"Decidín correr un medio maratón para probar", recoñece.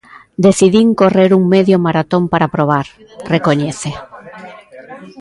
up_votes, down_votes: 1, 2